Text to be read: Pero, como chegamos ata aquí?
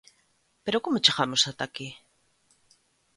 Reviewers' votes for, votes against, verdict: 2, 0, accepted